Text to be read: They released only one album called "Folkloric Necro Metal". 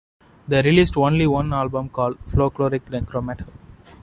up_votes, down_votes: 2, 0